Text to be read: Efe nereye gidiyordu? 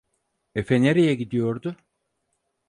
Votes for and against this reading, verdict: 4, 0, accepted